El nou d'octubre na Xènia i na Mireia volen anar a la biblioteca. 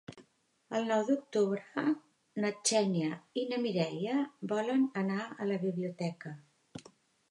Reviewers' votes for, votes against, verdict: 2, 1, accepted